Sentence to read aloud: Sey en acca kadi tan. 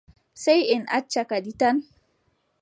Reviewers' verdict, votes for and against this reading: accepted, 2, 0